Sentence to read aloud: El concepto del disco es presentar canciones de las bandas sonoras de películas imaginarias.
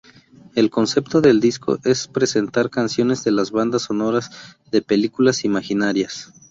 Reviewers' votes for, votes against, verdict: 2, 0, accepted